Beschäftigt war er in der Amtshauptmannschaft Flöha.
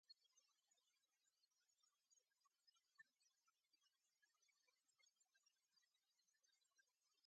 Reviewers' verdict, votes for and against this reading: rejected, 0, 2